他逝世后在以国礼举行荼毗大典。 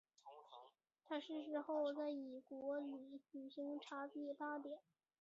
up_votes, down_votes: 3, 4